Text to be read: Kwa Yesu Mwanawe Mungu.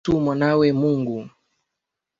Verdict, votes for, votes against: rejected, 0, 2